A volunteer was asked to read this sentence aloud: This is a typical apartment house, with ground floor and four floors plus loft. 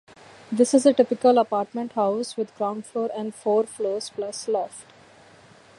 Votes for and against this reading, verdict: 2, 0, accepted